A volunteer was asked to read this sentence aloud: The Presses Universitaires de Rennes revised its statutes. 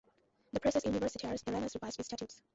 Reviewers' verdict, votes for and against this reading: rejected, 0, 2